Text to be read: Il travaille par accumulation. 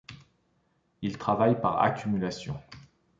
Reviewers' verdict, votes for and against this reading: accepted, 2, 0